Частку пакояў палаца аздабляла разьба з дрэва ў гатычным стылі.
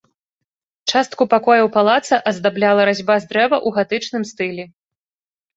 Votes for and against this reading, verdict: 2, 0, accepted